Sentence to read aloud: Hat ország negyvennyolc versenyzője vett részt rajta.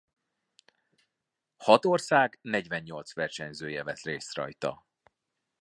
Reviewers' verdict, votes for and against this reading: accepted, 2, 0